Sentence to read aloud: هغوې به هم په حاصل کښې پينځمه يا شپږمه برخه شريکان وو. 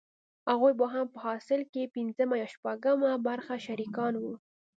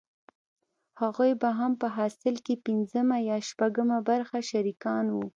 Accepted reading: first